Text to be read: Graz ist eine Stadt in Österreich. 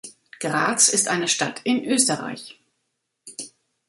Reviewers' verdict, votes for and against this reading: accepted, 2, 0